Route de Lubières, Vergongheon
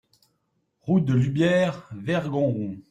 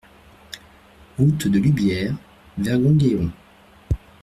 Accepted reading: first